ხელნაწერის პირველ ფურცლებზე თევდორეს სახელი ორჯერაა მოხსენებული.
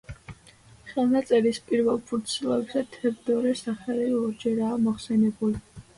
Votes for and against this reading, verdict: 2, 0, accepted